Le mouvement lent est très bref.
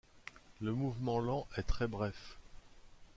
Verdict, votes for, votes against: accepted, 2, 0